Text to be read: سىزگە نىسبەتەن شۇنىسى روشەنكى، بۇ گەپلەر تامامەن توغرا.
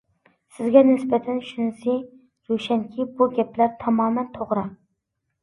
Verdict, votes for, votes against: accepted, 2, 0